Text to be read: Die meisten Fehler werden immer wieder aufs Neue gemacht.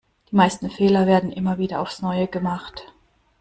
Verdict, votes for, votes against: rejected, 0, 2